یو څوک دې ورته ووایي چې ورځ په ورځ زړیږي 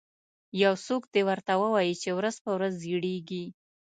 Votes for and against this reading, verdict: 0, 2, rejected